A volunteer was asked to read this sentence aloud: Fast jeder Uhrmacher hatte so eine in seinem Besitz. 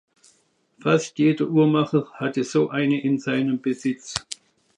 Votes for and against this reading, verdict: 2, 0, accepted